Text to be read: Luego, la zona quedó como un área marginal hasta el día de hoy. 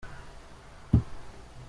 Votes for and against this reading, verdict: 0, 2, rejected